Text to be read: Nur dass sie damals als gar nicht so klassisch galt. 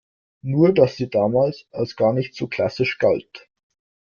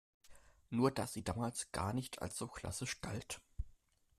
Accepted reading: first